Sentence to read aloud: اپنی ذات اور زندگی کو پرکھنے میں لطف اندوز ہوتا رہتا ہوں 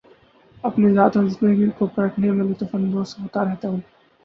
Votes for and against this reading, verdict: 0, 2, rejected